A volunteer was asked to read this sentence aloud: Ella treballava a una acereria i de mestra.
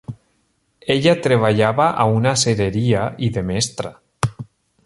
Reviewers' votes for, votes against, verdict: 2, 0, accepted